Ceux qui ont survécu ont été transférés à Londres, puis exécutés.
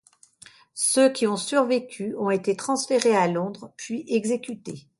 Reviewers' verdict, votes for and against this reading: accepted, 2, 0